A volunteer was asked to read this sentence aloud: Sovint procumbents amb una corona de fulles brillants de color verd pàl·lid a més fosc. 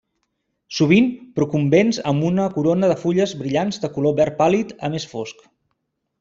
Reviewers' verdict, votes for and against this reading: accepted, 2, 0